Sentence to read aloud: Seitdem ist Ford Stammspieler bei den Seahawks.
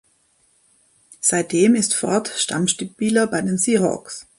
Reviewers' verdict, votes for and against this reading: rejected, 1, 2